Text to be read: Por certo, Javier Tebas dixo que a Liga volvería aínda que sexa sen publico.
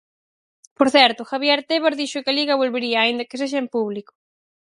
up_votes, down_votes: 2, 4